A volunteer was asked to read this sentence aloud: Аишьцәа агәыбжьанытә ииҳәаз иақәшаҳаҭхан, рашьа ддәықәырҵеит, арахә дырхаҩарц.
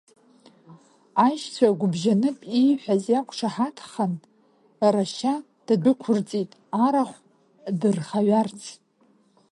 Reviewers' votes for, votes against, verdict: 1, 2, rejected